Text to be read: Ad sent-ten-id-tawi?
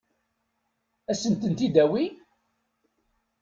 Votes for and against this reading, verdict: 1, 2, rejected